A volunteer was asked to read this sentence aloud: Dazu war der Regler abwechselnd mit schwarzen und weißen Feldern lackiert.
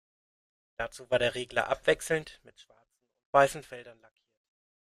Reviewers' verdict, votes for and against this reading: rejected, 1, 2